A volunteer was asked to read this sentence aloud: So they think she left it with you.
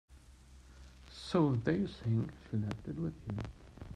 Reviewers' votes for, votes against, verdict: 2, 1, accepted